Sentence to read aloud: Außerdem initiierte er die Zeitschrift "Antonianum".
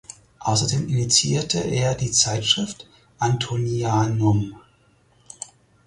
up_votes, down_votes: 4, 0